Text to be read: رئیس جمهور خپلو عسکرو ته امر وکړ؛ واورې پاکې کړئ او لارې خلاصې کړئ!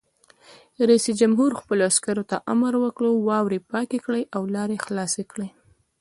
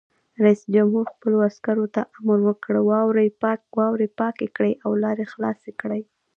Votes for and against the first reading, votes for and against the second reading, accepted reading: 2, 0, 1, 2, first